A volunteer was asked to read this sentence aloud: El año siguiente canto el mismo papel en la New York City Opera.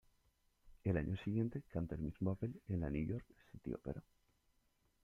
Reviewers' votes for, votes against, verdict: 0, 2, rejected